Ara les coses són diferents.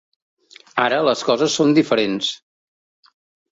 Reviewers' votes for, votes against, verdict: 2, 0, accepted